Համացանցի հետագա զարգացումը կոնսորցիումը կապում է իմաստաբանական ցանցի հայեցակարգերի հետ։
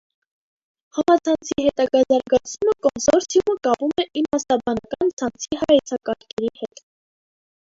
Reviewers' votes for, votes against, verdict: 0, 2, rejected